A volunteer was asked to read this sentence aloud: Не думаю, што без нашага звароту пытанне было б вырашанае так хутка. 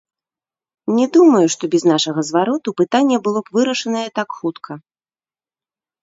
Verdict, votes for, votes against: rejected, 0, 2